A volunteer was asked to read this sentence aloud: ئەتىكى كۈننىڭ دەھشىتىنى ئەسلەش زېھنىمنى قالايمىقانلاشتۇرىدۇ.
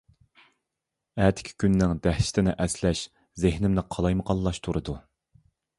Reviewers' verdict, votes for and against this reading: accepted, 2, 0